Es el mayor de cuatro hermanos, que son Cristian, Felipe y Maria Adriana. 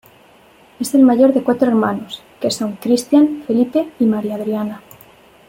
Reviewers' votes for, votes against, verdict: 2, 0, accepted